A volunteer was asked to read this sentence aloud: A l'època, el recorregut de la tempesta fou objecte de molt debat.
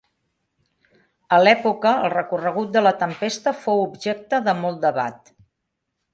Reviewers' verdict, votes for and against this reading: accepted, 4, 0